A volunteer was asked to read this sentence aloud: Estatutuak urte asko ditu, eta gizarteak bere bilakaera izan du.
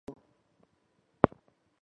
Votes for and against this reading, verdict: 0, 2, rejected